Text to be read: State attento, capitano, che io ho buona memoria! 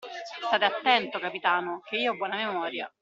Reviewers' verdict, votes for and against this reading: accepted, 2, 0